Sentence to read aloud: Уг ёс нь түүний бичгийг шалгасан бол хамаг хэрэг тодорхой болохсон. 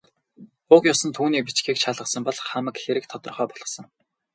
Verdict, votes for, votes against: rejected, 0, 2